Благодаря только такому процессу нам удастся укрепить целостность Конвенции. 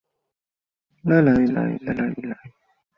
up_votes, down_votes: 0, 2